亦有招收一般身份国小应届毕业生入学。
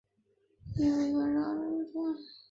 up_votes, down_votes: 0, 3